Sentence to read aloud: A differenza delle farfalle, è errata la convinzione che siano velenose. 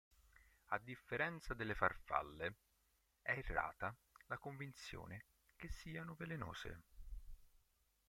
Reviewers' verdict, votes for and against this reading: rejected, 1, 2